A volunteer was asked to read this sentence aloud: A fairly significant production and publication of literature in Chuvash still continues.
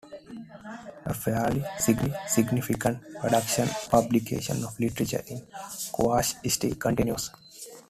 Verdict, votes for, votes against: rejected, 0, 2